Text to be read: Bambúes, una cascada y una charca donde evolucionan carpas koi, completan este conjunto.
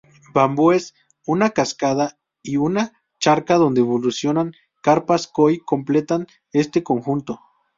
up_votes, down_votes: 2, 2